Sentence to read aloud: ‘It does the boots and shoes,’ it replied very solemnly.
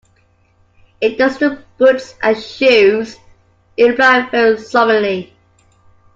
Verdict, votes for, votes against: accepted, 2, 1